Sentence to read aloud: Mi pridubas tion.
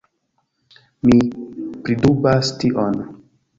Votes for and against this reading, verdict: 2, 1, accepted